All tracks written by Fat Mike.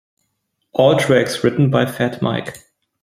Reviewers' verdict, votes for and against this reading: accepted, 2, 0